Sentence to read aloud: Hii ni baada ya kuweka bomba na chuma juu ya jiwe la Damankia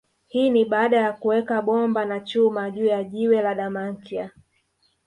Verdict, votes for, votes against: rejected, 0, 2